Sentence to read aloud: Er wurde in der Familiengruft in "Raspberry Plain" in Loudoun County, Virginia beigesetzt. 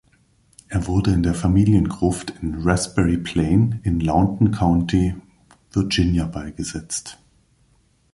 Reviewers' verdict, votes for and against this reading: rejected, 0, 2